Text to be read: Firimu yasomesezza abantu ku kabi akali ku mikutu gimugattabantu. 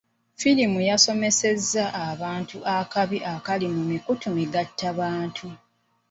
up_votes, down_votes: 1, 2